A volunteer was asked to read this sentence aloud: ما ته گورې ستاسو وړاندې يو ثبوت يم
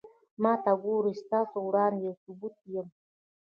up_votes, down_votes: 0, 2